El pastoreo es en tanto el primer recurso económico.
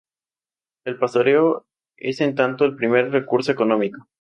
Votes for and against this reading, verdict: 2, 0, accepted